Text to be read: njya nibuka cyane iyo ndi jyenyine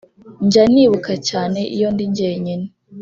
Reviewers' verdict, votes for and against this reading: accepted, 2, 0